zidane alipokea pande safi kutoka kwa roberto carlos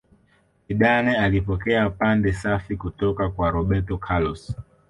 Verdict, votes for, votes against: accepted, 2, 0